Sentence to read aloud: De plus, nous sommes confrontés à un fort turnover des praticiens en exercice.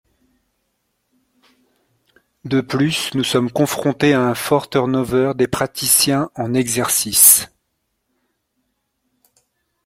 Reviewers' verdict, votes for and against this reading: accepted, 2, 0